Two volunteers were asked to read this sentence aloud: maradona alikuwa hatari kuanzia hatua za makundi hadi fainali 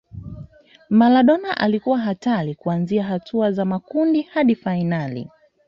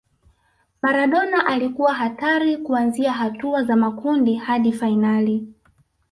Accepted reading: first